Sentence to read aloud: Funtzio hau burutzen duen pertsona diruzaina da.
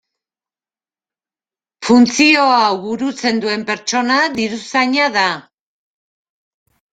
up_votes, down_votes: 0, 2